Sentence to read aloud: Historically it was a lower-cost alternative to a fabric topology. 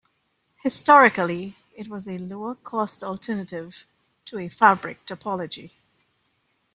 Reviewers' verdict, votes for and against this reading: accepted, 2, 0